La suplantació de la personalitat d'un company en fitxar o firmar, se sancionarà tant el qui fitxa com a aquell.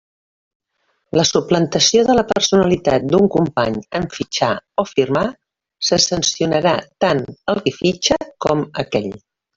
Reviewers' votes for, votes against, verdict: 1, 2, rejected